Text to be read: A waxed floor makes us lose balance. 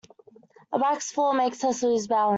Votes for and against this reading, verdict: 0, 2, rejected